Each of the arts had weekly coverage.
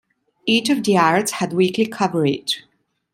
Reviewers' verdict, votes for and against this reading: accepted, 2, 0